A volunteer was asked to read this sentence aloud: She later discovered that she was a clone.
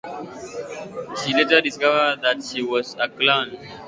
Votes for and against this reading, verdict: 2, 1, accepted